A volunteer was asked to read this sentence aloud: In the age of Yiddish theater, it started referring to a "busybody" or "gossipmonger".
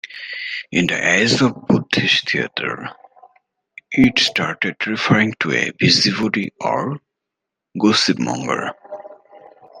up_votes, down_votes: 0, 2